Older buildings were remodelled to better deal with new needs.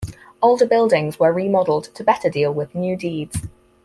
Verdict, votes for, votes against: rejected, 2, 4